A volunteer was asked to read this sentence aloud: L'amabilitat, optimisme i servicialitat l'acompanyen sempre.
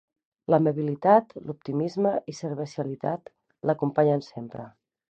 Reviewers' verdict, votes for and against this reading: rejected, 0, 2